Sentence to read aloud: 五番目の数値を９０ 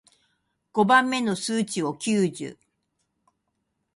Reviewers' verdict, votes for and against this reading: rejected, 0, 2